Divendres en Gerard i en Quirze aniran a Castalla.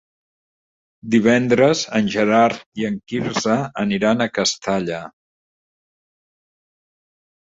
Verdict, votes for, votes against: accepted, 3, 0